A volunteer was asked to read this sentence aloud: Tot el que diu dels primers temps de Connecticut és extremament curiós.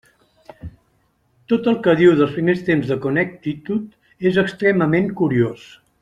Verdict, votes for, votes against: rejected, 1, 2